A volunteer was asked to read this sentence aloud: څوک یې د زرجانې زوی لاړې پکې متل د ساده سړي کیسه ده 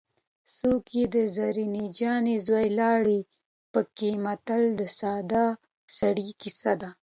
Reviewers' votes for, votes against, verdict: 2, 0, accepted